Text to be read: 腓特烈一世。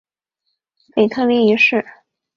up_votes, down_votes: 2, 0